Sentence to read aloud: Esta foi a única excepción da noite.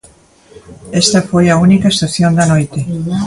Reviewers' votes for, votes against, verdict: 2, 0, accepted